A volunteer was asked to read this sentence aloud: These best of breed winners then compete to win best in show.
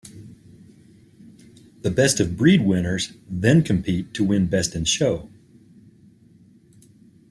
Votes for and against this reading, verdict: 1, 2, rejected